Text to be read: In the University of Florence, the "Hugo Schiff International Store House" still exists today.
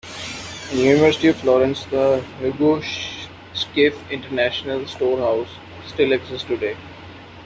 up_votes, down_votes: 0, 2